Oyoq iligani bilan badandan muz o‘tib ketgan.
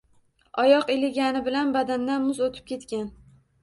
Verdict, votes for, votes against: accepted, 2, 0